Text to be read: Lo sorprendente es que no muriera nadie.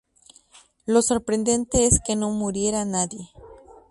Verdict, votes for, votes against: accepted, 2, 0